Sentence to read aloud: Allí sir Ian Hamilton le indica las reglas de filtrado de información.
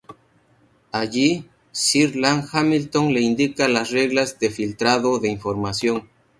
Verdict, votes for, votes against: accepted, 2, 0